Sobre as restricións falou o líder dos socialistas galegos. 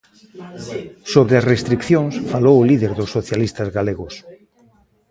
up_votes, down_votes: 0, 2